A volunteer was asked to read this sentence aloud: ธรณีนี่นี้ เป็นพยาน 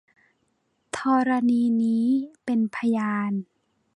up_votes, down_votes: 0, 2